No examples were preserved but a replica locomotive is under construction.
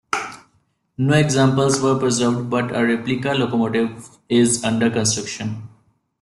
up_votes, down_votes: 2, 0